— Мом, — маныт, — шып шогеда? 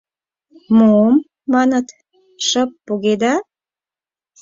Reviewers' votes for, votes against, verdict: 0, 4, rejected